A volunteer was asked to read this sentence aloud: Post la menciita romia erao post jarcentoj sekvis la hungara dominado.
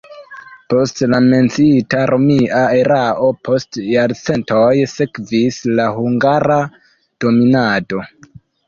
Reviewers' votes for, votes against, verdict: 2, 1, accepted